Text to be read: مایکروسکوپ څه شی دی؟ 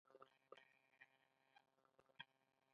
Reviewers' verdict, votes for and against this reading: rejected, 1, 2